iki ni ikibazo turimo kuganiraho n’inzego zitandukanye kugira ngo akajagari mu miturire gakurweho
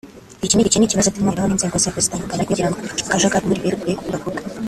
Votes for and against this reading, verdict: 0, 2, rejected